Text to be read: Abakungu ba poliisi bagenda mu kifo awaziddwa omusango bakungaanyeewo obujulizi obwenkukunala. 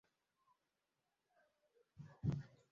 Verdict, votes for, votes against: rejected, 0, 2